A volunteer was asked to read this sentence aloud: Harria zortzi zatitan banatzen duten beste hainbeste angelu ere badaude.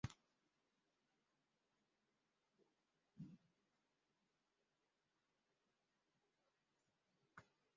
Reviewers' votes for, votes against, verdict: 0, 3, rejected